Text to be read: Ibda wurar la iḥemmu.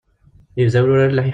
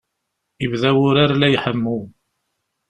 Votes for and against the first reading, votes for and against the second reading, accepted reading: 0, 2, 2, 0, second